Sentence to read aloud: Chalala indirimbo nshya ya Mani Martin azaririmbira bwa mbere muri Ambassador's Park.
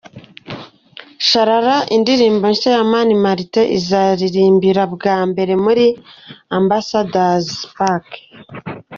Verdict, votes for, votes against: accepted, 2, 1